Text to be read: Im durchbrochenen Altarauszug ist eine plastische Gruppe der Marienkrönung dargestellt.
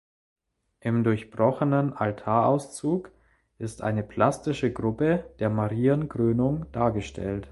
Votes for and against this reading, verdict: 2, 0, accepted